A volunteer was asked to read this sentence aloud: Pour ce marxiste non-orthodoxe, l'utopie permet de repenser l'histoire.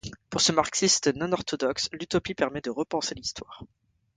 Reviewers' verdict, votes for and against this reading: accepted, 2, 1